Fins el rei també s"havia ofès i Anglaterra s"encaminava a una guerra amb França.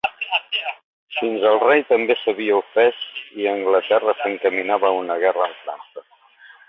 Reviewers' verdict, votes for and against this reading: rejected, 1, 3